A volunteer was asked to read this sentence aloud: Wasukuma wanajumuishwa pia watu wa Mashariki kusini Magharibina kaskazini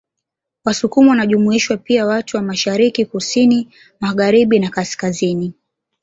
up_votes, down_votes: 2, 0